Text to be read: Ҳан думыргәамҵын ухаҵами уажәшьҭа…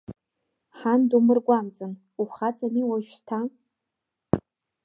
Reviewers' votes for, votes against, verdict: 0, 2, rejected